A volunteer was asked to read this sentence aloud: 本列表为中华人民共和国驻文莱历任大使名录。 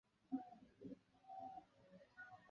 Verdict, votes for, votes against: rejected, 0, 4